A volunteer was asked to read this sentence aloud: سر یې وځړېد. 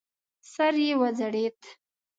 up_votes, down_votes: 0, 2